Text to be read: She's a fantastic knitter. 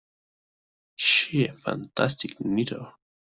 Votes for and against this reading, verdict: 0, 2, rejected